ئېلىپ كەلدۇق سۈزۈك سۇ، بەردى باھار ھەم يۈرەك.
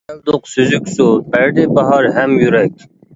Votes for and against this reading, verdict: 0, 2, rejected